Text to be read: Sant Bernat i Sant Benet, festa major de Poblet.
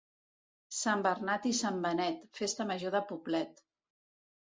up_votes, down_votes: 2, 0